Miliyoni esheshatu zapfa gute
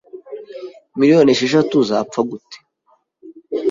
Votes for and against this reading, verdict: 2, 0, accepted